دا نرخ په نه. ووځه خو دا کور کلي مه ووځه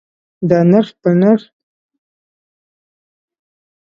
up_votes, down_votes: 1, 2